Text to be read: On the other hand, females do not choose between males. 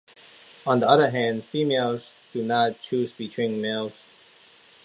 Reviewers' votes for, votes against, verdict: 2, 0, accepted